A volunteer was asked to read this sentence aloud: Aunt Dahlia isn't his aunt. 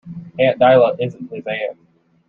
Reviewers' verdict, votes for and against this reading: rejected, 0, 2